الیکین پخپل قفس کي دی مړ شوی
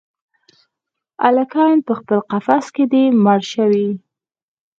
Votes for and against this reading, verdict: 4, 0, accepted